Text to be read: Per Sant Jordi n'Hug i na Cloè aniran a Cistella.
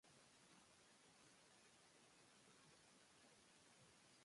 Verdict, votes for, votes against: rejected, 1, 2